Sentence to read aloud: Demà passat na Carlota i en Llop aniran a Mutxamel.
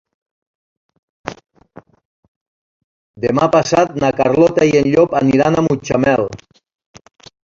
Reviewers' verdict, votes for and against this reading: accepted, 3, 2